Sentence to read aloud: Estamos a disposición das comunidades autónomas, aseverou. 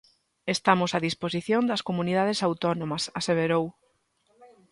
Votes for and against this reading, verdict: 2, 0, accepted